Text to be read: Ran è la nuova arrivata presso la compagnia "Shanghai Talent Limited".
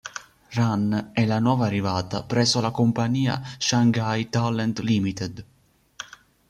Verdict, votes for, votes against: accepted, 2, 0